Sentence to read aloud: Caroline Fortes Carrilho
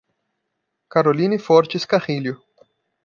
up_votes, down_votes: 2, 0